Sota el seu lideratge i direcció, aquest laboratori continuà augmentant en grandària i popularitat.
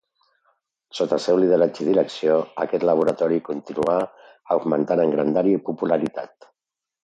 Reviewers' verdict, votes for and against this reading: accepted, 2, 0